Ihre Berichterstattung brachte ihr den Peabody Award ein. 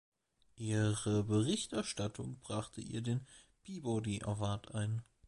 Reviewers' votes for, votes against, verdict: 1, 2, rejected